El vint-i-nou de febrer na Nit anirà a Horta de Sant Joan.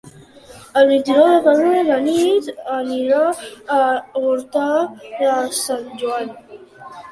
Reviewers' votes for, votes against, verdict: 1, 2, rejected